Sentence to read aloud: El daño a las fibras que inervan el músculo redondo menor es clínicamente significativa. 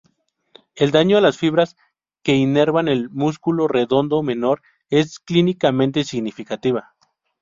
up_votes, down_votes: 2, 0